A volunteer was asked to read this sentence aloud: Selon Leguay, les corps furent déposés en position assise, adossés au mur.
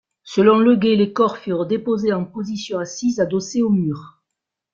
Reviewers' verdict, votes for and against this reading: accepted, 2, 0